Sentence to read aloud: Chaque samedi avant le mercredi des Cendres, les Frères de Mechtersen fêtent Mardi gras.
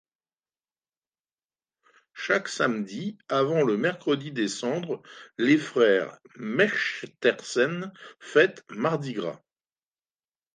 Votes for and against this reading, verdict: 1, 2, rejected